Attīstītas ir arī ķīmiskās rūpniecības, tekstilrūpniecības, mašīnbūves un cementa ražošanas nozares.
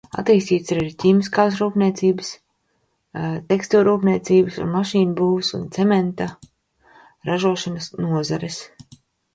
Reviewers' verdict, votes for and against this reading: rejected, 0, 2